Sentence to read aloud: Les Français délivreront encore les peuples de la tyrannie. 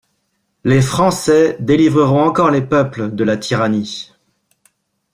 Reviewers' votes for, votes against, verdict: 2, 0, accepted